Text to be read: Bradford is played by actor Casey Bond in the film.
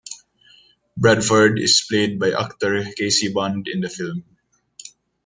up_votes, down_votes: 2, 0